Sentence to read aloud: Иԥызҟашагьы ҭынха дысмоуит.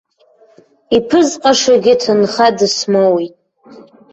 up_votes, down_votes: 1, 2